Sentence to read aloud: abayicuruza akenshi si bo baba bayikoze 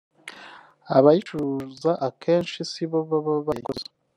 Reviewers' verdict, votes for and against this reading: rejected, 0, 2